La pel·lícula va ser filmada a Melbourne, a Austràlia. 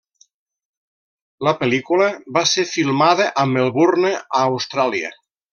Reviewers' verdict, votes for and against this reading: accepted, 3, 0